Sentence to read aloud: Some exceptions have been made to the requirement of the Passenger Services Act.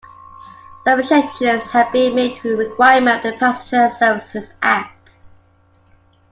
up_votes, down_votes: 2, 1